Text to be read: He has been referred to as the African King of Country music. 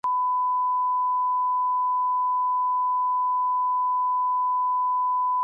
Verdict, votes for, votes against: rejected, 0, 2